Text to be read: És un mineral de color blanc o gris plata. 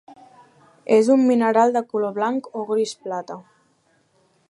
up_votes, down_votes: 2, 0